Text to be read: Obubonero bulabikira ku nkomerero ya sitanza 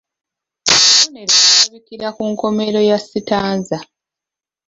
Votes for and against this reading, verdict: 2, 3, rejected